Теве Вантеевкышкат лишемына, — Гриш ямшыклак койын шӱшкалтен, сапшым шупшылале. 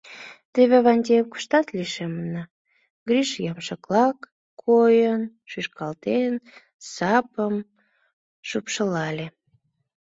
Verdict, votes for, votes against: rejected, 0, 2